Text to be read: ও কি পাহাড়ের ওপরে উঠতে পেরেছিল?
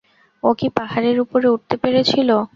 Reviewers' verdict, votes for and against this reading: accepted, 2, 0